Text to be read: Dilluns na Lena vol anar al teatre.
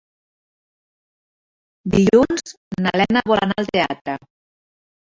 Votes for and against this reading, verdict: 4, 0, accepted